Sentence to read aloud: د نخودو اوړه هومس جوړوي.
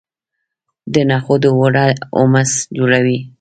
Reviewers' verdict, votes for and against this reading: accepted, 2, 0